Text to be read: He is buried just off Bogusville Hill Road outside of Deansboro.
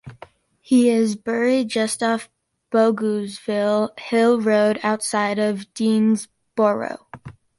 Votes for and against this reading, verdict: 2, 0, accepted